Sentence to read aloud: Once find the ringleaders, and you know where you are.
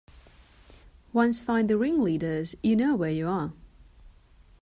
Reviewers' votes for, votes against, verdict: 0, 2, rejected